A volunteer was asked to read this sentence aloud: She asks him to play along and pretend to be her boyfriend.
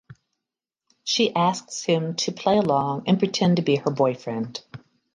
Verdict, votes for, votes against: accepted, 2, 0